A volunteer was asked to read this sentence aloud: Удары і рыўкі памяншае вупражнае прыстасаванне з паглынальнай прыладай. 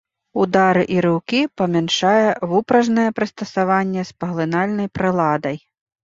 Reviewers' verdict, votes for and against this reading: accepted, 2, 0